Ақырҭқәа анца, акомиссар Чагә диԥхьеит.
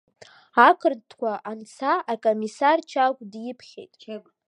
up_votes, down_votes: 0, 2